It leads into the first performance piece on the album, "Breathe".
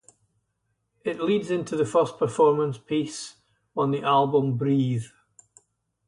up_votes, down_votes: 2, 2